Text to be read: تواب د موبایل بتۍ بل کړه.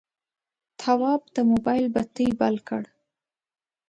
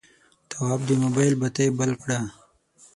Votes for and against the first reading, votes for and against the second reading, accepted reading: 2, 0, 3, 6, first